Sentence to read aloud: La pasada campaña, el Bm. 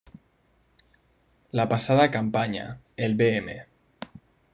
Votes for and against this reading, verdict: 2, 0, accepted